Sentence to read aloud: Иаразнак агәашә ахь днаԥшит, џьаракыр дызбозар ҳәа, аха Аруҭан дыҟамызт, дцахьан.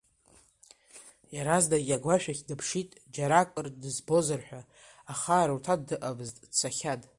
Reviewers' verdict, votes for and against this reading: rejected, 0, 2